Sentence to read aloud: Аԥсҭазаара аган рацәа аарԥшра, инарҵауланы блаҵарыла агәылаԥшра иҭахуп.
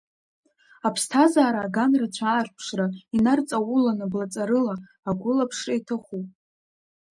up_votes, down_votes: 0, 2